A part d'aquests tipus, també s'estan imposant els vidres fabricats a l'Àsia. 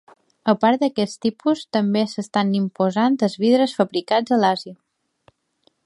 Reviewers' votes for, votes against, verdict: 2, 0, accepted